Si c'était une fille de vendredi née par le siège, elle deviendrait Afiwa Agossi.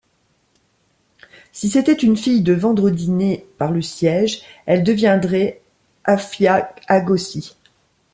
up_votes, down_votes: 0, 2